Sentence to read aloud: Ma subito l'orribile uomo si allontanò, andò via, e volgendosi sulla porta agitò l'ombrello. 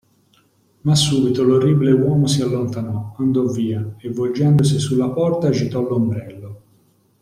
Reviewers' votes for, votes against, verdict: 2, 0, accepted